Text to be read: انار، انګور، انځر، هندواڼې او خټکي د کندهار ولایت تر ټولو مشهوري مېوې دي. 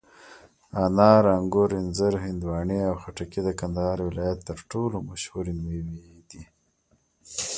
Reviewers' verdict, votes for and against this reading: accepted, 2, 0